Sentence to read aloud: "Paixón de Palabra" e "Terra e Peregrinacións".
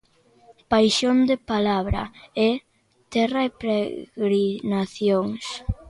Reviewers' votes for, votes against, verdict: 0, 2, rejected